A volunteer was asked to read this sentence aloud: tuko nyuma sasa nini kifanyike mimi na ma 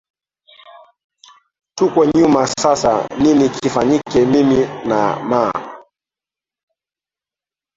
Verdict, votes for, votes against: rejected, 0, 3